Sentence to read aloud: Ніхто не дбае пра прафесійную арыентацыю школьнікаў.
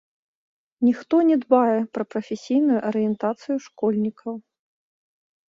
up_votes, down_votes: 0, 2